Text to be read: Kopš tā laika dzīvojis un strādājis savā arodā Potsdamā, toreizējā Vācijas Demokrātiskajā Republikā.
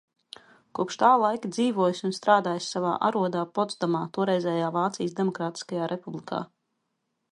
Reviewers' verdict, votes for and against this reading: accepted, 2, 0